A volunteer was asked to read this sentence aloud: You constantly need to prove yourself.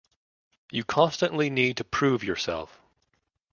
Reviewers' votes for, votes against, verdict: 2, 0, accepted